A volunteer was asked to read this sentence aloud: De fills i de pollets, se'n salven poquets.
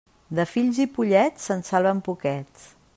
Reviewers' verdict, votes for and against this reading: rejected, 0, 2